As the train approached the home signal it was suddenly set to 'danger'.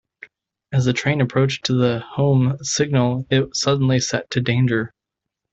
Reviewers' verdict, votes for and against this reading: rejected, 0, 2